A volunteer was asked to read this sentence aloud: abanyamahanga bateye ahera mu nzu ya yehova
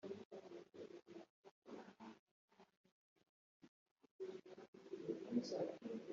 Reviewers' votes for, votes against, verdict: 0, 2, rejected